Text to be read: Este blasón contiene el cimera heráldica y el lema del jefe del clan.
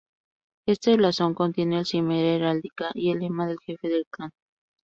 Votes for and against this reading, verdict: 0, 2, rejected